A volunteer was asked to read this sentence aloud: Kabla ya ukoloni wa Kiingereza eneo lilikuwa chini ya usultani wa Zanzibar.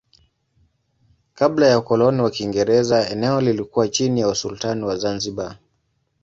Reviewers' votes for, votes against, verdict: 2, 0, accepted